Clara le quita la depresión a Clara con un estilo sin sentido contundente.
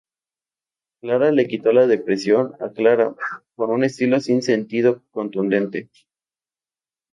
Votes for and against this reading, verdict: 0, 2, rejected